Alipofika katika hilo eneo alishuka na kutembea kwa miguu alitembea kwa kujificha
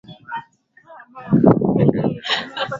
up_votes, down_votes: 2, 8